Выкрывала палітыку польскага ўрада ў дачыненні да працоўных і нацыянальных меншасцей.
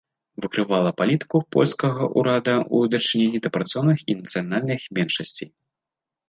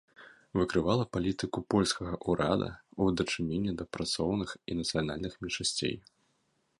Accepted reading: first